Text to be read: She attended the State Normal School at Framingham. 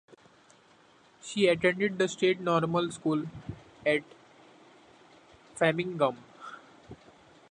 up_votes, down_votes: 2, 0